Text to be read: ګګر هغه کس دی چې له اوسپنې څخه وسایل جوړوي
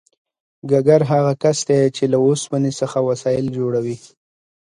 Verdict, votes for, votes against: accepted, 2, 0